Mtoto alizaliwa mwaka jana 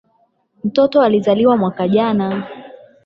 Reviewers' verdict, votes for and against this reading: rejected, 4, 8